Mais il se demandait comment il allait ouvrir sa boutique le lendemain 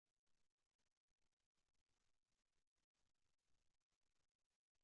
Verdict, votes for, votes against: rejected, 0, 2